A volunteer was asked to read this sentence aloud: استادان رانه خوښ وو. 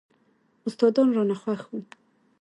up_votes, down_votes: 3, 2